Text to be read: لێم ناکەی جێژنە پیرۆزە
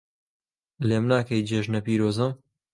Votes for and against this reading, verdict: 2, 0, accepted